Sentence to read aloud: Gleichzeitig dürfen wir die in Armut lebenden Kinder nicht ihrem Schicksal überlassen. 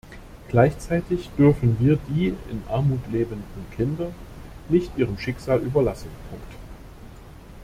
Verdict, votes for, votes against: rejected, 0, 2